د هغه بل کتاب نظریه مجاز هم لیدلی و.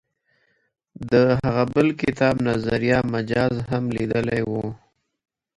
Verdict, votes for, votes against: rejected, 1, 2